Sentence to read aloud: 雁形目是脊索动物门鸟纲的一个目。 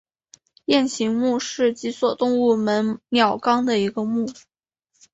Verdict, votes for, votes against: accepted, 4, 0